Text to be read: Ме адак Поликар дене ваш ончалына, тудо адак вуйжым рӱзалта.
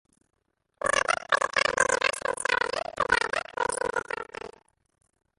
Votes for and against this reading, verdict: 0, 2, rejected